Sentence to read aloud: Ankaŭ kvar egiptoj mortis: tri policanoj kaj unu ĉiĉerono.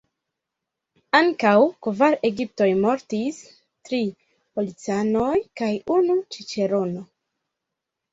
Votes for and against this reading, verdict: 1, 2, rejected